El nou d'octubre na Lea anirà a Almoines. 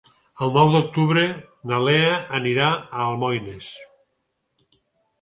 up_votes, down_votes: 6, 0